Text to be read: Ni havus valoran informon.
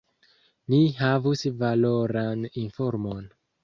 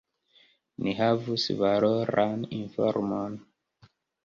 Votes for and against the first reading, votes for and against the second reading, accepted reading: 2, 0, 0, 2, first